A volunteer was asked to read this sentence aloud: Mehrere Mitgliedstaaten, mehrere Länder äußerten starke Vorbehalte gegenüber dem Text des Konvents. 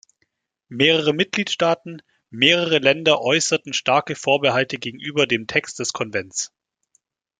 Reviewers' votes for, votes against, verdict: 2, 0, accepted